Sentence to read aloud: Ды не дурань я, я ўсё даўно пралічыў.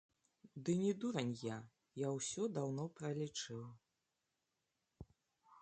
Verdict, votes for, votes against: accepted, 2, 0